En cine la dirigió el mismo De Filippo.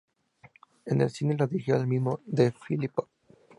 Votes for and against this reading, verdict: 0, 2, rejected